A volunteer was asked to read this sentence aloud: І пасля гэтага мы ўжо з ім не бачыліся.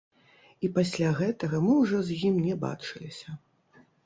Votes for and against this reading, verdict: 1, 2, rejected